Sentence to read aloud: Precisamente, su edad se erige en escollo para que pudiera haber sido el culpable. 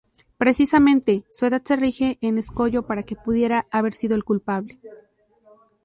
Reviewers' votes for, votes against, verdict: 0, 2, rejected